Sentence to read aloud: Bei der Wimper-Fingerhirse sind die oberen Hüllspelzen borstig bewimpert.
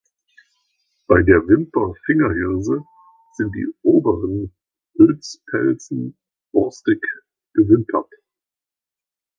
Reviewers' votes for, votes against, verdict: 0, 2, rejected